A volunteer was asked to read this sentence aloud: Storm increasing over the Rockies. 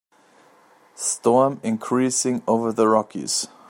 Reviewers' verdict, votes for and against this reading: accepted, 2, 0